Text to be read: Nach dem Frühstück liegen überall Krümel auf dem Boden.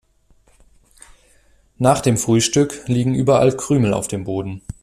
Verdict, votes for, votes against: accepted, 2, 0